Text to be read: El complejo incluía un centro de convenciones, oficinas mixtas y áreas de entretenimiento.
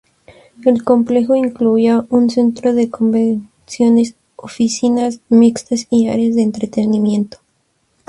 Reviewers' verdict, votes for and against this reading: accepted, 4, 0